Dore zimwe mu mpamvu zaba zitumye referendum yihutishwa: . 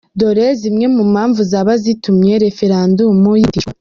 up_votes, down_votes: 0, 2